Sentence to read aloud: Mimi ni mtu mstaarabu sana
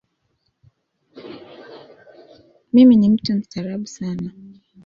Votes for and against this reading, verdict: 1, 2, rejected